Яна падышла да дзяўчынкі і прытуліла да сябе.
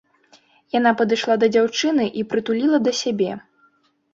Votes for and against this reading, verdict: 1, 2, rejected